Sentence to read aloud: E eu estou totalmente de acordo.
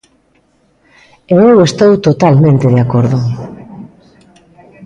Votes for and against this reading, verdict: 3, 0, accepted